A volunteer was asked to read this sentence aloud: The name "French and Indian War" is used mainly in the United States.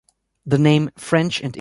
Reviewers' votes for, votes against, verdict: 1, 2, rejected